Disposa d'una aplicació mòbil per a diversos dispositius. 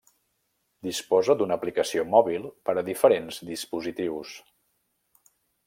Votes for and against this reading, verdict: 1, 2, rejected